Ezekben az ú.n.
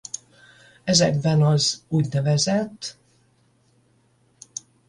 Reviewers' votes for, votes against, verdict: 5, 10, rejected